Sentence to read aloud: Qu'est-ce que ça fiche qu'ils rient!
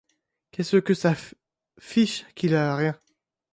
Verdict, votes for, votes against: rejected, 1, 2